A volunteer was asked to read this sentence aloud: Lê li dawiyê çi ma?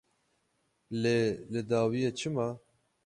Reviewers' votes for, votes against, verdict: 6, 6, rejected